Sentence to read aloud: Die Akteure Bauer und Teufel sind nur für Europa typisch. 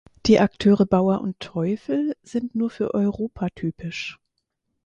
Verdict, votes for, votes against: accepted, 4, 0